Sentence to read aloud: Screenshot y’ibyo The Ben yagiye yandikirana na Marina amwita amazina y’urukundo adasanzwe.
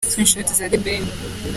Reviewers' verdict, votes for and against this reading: rejected, 0, 2